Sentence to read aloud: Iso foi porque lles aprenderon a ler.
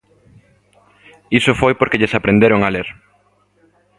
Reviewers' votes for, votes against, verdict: 2, 0, accepted